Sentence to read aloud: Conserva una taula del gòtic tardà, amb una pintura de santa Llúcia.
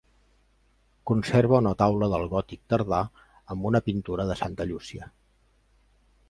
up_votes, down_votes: 3, 0